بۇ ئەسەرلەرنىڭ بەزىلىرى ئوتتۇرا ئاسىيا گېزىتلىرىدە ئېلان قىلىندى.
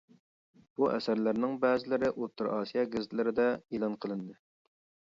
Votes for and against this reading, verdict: 2, 0, accepted